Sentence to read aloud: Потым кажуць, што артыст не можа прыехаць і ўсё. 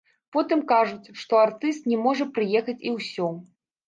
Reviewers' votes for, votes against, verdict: 0, 2, rejected